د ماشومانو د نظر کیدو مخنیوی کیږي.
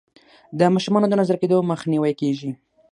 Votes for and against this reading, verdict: 3, 0, accepted